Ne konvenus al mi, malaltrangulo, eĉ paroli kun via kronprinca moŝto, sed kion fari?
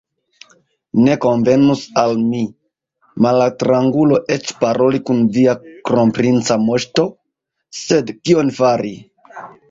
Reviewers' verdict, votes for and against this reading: rejected, 1, 2